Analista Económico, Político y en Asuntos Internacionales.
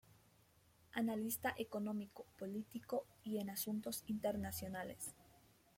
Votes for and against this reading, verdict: 2, 0, accepted